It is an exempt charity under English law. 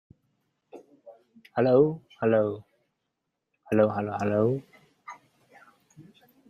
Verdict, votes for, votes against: rejected, 0, 2